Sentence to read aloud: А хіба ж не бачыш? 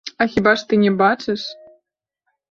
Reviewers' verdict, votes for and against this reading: accepted, 3, 2